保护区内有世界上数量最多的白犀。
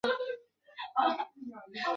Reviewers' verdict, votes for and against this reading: rejected, 0, 2